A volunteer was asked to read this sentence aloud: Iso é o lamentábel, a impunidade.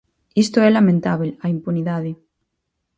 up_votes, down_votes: 2, 4